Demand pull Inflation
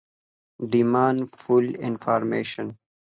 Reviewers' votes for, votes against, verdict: 2, 0, accepted